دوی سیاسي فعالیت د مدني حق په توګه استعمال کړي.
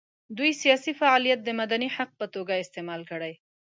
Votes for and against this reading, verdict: 2, 0, accepted